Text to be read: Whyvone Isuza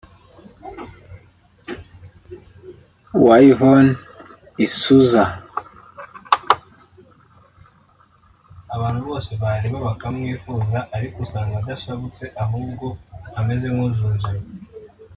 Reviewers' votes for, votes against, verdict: 1, 2, rejected